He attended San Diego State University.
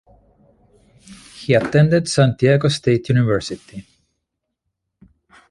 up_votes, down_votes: 0, 2